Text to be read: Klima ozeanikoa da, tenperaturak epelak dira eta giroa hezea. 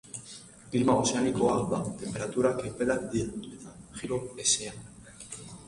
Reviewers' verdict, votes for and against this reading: rejected, 0, 2